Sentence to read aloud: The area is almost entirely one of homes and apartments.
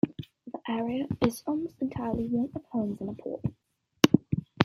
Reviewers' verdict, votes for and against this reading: rejected, 1, 2